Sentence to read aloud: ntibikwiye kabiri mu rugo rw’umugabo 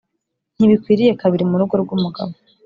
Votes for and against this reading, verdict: 2, 0, accepted